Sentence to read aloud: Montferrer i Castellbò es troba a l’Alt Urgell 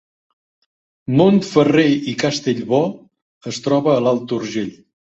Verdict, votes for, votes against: accepted, 2, 0